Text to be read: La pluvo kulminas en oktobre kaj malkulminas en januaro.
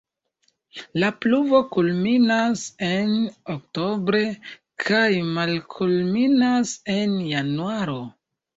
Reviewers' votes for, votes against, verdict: 2, 1, accepted